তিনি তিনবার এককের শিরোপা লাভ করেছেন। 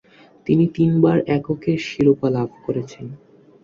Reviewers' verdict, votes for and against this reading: accepted, 9, 1